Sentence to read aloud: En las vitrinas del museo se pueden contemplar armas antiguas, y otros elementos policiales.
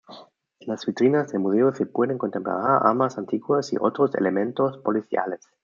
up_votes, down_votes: 1, 2